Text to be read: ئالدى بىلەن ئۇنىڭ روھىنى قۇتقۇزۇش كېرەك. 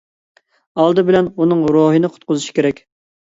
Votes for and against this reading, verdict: 2, 0, accepted